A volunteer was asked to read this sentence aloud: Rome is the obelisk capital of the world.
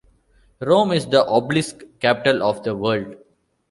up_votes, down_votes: 2, 0